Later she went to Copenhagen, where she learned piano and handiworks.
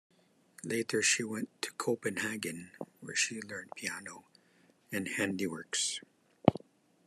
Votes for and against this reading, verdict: 2, 1, accepted